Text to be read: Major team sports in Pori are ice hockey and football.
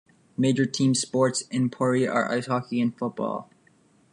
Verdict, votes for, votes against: accepted, 2, 0